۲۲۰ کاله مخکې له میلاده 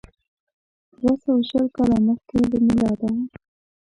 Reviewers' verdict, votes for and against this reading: rejected, 0, 2